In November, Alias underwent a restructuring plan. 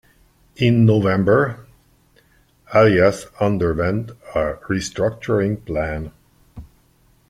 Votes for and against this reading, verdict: 1, 2, rejected